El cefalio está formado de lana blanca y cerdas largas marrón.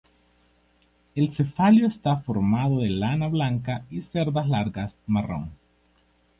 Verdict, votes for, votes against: accepted, 2, 0